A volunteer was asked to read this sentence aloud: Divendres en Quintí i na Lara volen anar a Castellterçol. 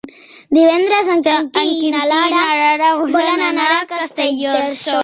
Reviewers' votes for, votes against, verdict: 1, 3, rejected